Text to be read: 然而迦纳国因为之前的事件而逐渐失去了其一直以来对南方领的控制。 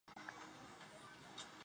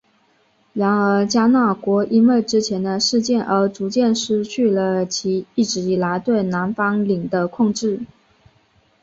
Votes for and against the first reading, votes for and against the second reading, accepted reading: 0, 3, 3, 0, second